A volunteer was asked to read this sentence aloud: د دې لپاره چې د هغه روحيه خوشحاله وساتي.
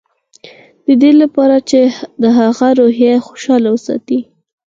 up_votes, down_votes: 4, 0